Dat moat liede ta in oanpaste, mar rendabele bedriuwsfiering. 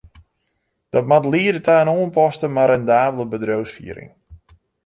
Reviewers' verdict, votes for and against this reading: accepted, 2, 0